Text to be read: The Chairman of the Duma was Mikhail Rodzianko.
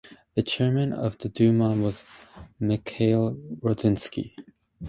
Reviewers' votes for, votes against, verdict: 2, 0, accepted